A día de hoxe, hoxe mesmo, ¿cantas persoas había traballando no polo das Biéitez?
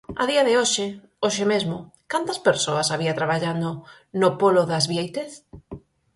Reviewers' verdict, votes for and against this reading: accepted, 4, 0